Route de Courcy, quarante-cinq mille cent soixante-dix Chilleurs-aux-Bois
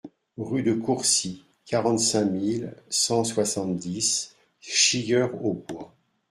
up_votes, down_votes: 1, 2